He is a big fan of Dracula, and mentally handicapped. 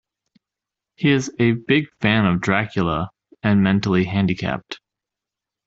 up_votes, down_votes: 2, 0